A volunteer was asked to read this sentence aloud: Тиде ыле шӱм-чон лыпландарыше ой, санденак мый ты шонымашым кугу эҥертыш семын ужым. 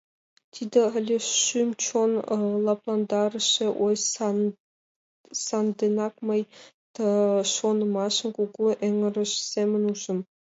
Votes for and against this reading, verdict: 1, 2, rejected